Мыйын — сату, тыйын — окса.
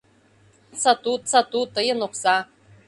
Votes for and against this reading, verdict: 0, 2, rejected